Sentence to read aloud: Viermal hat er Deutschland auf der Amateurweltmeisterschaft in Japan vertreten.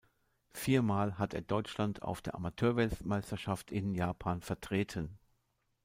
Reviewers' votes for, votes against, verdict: 1, 2, rejected